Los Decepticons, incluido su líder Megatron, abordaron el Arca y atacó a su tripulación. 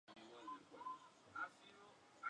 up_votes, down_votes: 0, 2